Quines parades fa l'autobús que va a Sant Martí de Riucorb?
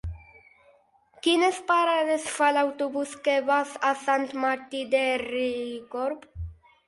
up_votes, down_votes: 0, 4